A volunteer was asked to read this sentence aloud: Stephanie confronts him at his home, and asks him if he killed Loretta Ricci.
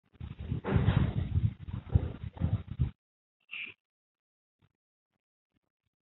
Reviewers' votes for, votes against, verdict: 0, 2, rejected